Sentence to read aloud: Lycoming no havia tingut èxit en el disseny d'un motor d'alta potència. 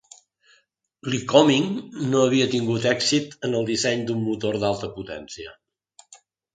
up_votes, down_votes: 3, 0